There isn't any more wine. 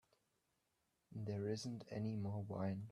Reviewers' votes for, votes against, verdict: 0, 2, rejected